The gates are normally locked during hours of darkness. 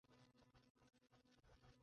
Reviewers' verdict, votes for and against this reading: rejected, 0, 2